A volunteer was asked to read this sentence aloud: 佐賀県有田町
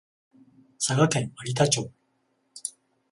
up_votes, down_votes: 14, 0